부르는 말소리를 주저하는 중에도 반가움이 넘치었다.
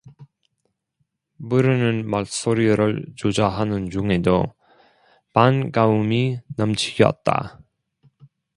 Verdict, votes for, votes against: rejected, 0, 2